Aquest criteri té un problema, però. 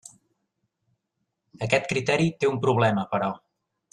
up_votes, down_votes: 3, 1